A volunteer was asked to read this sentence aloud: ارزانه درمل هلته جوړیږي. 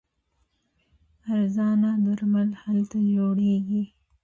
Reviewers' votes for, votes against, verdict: 0, 2, rejected